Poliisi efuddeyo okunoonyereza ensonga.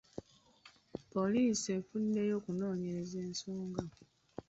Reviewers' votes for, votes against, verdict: 0, 3, rejected